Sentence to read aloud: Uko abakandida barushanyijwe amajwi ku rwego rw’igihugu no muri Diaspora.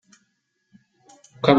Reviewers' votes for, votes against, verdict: 0, 2, rejected